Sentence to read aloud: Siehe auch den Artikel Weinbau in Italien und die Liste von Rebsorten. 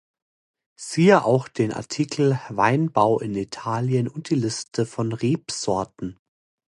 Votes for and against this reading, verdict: 2, 0, accepted